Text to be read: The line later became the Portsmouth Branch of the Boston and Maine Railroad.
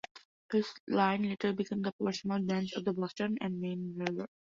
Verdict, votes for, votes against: rejected, 0, 2